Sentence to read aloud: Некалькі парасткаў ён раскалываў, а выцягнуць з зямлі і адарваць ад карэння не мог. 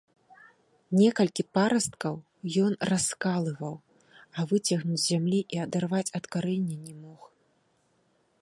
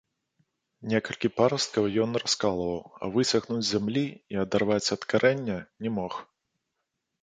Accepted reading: first